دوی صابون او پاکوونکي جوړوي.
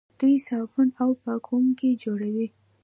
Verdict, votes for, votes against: rejected, 0, 2